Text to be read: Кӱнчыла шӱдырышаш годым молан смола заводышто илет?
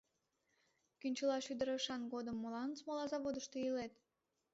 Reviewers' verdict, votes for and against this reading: rejected, 0, 2